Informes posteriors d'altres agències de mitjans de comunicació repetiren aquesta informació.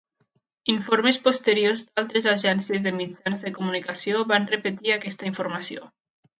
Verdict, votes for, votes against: rejected, 0, 2